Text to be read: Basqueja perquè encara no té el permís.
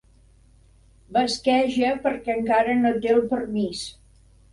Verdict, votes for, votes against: accepted, 4, 0